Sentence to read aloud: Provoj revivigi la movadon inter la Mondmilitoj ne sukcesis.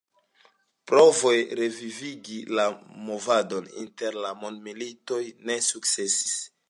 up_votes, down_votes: 3, 0